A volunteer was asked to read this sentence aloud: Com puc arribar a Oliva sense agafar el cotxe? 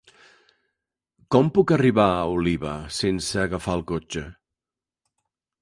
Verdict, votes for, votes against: accepted, 3, 0